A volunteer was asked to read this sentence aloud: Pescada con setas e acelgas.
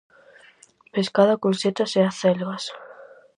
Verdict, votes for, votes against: accepted, 4, 0